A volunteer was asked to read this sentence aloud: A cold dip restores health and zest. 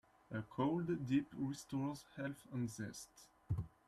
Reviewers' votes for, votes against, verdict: 0, 2, rejected